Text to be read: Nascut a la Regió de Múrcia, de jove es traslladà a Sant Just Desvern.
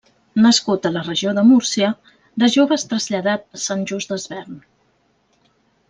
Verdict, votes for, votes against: rejected, 1, 2